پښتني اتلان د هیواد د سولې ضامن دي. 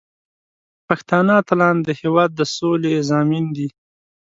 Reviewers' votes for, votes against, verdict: 2, 0, accepted